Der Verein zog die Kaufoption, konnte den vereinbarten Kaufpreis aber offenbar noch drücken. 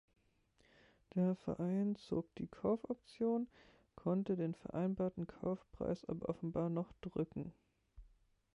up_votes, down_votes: 0, 2